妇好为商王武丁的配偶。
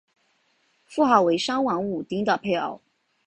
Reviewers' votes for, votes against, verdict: 3, 0, accepted